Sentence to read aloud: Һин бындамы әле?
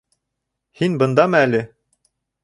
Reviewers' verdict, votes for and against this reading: accepted, 2, 1